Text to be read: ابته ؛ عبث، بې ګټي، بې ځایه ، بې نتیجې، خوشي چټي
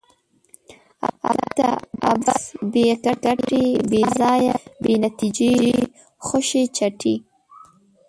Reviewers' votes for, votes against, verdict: 0, 2, rejected